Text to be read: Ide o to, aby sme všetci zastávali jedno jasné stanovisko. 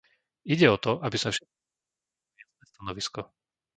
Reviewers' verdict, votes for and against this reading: rejected, 0, 2